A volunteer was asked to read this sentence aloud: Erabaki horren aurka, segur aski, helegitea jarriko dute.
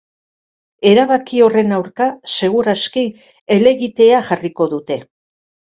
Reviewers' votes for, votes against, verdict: 2, 0, accepted